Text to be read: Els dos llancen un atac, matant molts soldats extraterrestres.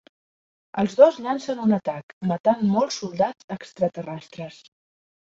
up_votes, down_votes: 2, 0